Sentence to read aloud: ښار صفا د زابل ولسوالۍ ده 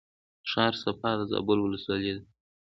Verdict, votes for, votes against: accepted, 2, 1